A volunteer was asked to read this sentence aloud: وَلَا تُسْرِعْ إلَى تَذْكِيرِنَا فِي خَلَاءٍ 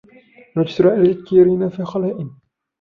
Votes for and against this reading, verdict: 1, 2, rejected